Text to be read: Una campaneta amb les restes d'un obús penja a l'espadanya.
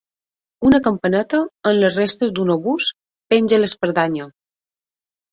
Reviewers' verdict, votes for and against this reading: rejected, 0, 2